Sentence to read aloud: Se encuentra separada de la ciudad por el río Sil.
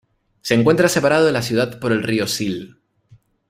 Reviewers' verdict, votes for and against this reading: accepted, 2, 0